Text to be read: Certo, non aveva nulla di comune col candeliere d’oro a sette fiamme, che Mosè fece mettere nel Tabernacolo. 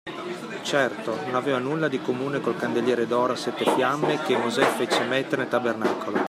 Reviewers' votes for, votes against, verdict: 2, 0, accepted